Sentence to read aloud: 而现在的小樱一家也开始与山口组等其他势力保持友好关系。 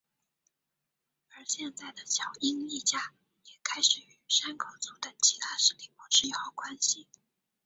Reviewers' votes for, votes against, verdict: 0, 2, rejected